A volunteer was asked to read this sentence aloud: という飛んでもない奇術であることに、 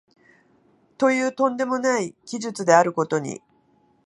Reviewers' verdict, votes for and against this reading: accepted, 2, 0